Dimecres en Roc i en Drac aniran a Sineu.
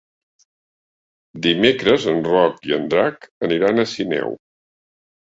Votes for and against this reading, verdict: 3, 0, accepted